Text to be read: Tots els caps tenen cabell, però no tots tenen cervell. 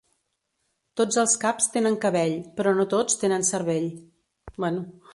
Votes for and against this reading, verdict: 1, 3, rejected